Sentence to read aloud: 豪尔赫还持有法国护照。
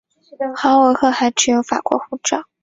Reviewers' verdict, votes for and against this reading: accepted, 2, 0